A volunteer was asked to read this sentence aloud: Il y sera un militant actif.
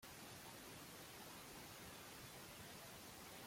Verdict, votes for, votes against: rejected, 1, 2